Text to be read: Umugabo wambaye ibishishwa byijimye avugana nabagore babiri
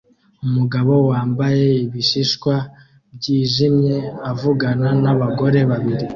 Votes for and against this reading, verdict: 2, 0, accepted